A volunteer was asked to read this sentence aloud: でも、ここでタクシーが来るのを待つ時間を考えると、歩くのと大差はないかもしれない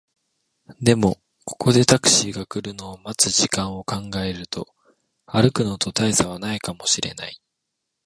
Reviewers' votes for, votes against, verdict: 2, 0, accepted